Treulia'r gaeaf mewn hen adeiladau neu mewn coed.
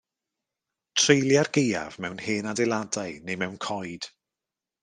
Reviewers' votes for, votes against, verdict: 1, 2, rejected